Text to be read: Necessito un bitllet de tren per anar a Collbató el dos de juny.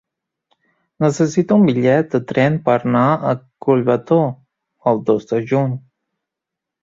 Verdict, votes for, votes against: rejected, 0, 2